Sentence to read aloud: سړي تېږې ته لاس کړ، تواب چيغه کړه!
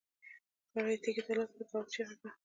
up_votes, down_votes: 1, 2